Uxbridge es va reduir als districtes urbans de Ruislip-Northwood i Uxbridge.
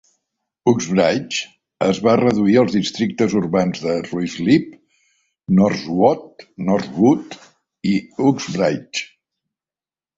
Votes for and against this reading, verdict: 0, 2, rejected